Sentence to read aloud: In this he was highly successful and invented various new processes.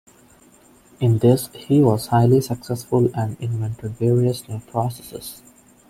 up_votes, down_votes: 2, 0